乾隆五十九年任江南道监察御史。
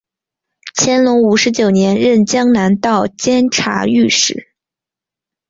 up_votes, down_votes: 6, 0